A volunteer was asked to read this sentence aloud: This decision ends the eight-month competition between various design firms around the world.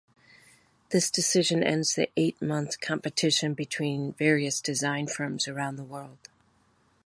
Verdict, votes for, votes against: accepted, 3, 0